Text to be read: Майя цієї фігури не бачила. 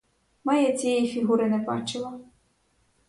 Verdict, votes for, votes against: accepted, 4, 0